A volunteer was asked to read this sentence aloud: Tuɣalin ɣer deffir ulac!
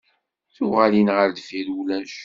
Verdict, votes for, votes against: accepted, 2, 0